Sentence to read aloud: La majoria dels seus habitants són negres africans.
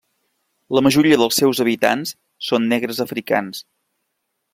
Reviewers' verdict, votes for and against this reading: accepted, 3, 0